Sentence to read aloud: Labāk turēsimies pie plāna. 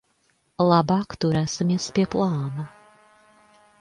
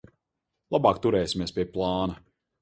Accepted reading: second